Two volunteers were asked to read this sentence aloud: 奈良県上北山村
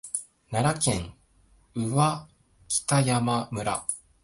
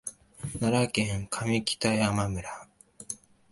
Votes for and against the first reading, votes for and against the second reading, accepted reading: 2, 3, 2, 0, second